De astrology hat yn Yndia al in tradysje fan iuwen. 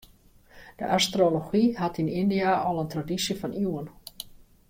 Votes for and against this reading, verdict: 2, 0, accepted